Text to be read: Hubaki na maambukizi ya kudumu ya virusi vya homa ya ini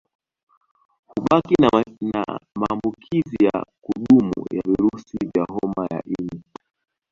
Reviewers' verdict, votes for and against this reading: rejected, 0, 2